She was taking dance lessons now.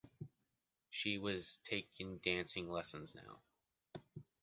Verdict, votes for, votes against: rejected, 0, 2